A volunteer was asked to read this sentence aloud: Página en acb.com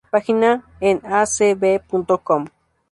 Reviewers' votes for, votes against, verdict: 2, 0, accepted